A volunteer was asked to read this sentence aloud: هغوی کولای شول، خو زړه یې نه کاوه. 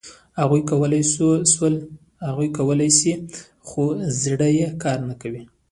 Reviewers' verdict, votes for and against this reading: accepted, 2, 1